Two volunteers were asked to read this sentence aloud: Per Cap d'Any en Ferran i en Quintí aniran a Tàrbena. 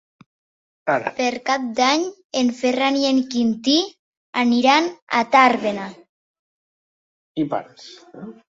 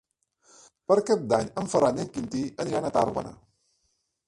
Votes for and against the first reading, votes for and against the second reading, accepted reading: 2, 3, 4, 0, second